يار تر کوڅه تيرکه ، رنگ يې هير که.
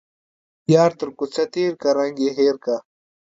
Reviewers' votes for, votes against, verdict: 2, 0, accepted